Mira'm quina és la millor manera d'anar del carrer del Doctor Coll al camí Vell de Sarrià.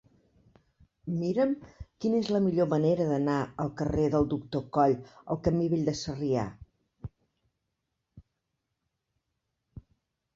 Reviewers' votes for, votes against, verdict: 0, 2, rejected